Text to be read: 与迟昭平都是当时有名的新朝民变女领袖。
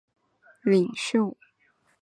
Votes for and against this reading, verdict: 1, 2, rejected